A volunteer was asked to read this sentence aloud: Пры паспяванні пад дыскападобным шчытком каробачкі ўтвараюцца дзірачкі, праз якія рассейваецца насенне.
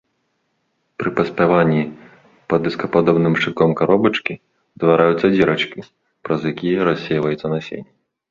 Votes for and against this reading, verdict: 2, 0, accepted